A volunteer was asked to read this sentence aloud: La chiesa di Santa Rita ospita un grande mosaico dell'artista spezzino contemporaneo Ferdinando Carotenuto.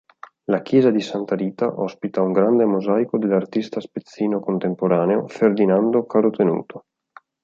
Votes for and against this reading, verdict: 2, 0, accepted